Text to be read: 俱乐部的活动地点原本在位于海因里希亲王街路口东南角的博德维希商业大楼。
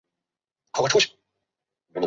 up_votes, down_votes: 1, 2